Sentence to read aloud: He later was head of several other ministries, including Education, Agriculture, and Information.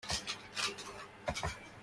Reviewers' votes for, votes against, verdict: 0, 2, rejected